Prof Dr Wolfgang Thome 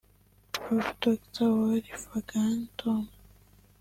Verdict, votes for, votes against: rejected, 1, 2